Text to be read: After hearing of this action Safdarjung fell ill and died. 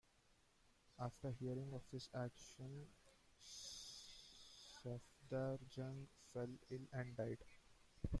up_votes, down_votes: 1, 2